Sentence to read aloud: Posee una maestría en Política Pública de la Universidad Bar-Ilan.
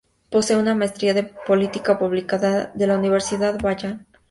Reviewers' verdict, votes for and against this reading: rejected, 0, 2